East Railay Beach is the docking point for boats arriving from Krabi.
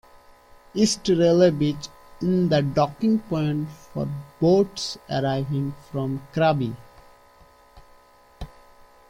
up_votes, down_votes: 2, 1